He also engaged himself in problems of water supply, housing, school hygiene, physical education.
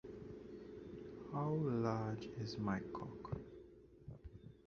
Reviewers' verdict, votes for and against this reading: rejected, 0, 2